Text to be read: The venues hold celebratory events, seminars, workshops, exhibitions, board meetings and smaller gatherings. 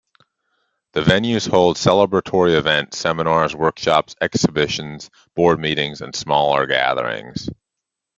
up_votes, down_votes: 2, 0